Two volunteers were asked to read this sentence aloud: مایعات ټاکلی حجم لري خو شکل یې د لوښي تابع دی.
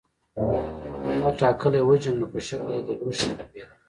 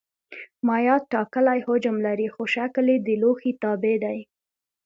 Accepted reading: second